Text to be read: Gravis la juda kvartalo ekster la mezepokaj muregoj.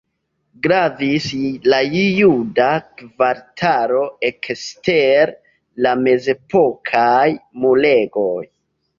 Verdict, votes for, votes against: rejected, 1, 2